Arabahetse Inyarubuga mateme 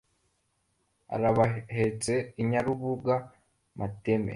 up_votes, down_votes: 2, 1